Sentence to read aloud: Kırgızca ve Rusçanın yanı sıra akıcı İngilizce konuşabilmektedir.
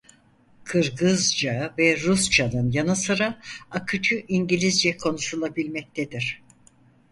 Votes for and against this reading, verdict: 0, 4, rejected